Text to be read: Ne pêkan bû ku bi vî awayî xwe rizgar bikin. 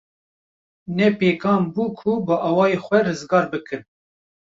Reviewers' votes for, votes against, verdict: 1, 2, rejected